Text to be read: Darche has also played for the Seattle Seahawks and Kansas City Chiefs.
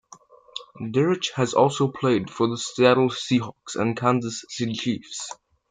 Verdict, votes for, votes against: accepted, 2, 0